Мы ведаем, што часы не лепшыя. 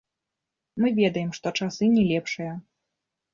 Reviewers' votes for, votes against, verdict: 2, 0, accepted